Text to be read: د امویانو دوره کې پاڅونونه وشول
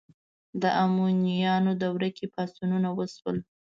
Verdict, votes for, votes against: accepted, 2, 0